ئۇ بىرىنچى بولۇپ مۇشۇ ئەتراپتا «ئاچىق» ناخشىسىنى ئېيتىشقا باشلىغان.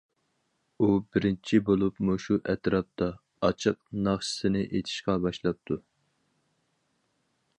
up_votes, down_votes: 0, 4